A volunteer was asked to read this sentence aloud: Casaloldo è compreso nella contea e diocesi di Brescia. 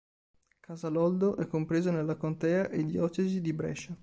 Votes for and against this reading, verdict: 2, 0, accepted